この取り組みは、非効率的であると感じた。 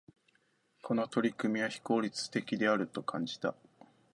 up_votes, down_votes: 2, 0